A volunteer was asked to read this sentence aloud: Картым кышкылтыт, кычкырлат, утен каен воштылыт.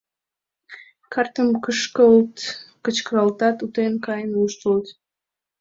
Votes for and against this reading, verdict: 0, 2, rejected